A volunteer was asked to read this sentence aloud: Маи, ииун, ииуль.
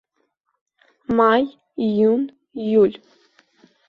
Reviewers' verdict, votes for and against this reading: accepted, 2, 0